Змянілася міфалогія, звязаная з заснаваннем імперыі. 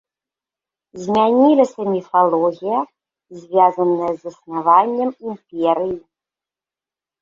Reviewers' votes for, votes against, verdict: 3, 1, accepted